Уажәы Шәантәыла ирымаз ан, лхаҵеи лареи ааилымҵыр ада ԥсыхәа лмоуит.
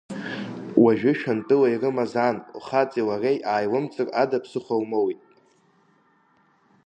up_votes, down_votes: 2, 0